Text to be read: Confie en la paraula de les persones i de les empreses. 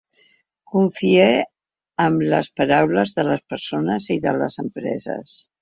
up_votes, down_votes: 2, 3